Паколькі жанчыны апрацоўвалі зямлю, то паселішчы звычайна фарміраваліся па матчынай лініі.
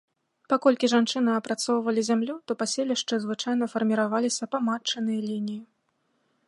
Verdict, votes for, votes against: accepted, 2, 0